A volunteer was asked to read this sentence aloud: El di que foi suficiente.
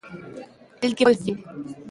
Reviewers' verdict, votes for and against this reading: rejected, 0, 2